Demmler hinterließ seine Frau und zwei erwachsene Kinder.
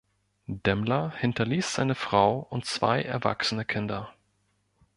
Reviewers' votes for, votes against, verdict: 2, 0, accepted